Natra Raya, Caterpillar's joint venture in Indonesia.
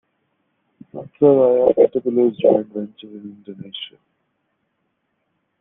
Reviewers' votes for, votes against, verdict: 0, 2, rejected